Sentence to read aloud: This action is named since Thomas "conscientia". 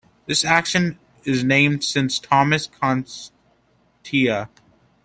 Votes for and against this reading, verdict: 0, 2, rejected